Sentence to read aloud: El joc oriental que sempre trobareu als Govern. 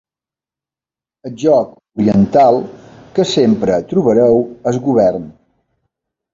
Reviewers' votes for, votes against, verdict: 0, 2, rejected